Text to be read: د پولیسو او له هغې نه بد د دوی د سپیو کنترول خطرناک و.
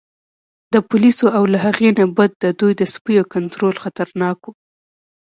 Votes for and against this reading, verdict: 2, 0, accepted